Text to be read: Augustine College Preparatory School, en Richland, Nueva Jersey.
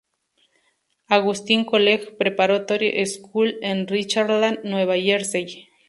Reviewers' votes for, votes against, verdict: 0, 4, rejected